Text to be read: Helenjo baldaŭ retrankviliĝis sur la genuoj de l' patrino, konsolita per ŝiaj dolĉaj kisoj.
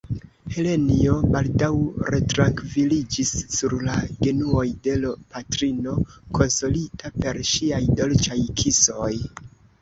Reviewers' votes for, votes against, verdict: 2, 0, accepted